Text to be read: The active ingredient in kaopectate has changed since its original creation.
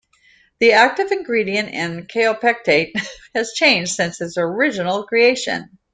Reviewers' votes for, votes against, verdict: 2, 0, accepted